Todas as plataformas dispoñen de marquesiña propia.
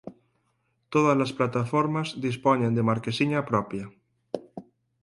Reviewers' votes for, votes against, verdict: 4, 0, accepted